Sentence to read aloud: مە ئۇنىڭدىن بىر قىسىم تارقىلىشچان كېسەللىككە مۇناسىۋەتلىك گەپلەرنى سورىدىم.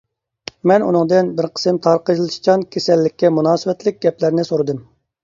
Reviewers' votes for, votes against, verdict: 1, 2, rejected